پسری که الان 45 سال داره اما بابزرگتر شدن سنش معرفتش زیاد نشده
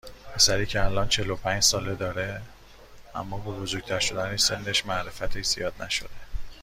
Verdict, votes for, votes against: rejected, 0, 2